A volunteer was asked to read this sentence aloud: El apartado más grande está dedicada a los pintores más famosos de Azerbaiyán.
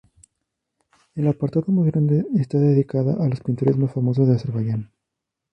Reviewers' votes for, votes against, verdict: 0, 2, rejected